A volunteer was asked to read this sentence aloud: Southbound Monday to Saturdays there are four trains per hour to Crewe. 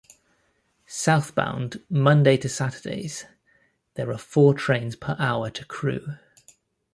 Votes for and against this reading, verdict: 2, 0, accepted